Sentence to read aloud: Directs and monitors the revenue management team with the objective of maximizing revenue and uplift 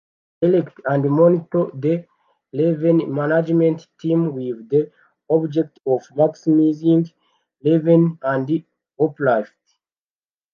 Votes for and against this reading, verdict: 0, 2, rejected